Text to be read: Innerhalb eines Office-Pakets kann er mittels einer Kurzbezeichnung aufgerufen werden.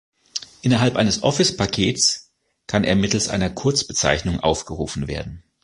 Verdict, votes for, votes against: accepted, 2, 0